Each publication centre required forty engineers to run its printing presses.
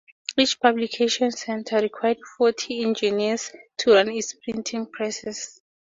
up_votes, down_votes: 2, 0